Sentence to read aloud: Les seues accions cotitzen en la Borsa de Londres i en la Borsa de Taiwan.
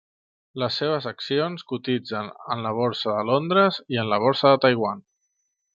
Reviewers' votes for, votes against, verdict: 1, 2, rejected